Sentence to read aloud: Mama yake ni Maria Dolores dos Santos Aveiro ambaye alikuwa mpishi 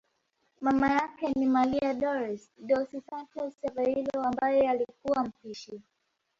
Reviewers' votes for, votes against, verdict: 1, 2, rejected